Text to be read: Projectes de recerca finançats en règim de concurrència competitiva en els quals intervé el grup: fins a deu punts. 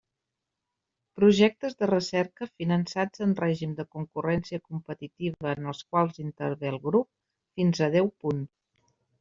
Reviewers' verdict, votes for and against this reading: rejected, 0, 2